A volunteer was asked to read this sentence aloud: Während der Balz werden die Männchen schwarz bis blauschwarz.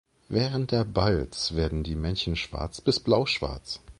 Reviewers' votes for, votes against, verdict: 2, 0, accepted